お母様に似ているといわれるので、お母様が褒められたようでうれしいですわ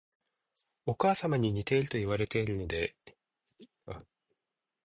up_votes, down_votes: 0, 2